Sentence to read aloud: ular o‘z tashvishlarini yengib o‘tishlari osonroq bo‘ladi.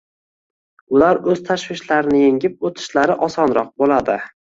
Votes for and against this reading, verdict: 1, 2, rejected